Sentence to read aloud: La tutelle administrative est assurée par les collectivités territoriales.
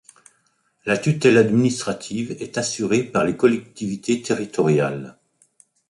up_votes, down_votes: 0, 2